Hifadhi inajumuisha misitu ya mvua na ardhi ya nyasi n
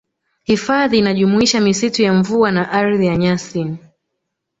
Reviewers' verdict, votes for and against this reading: rejected, 1, 2